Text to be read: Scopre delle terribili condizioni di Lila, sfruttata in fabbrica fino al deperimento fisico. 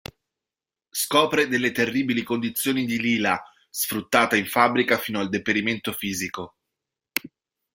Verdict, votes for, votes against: rejected, 1, 2